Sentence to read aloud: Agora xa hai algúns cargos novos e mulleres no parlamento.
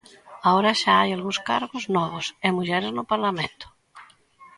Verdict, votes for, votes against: accepted, 2, 0